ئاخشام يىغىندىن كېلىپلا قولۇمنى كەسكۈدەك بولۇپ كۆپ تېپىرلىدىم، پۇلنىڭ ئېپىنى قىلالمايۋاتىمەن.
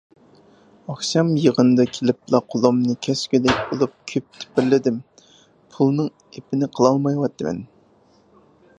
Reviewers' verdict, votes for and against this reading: rejected, 0, 4